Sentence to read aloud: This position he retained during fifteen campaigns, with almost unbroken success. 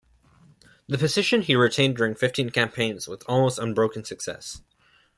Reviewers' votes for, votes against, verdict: 0, 2, rejected